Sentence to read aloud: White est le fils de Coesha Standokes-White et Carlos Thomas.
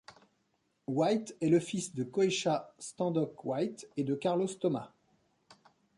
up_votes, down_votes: 0, 2